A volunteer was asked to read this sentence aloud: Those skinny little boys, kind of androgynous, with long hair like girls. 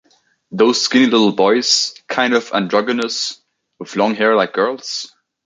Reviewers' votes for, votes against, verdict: 0, 2, rejected